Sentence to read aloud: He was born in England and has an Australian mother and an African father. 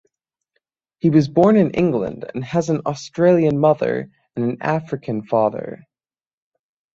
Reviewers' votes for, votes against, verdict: 6, 0, accepted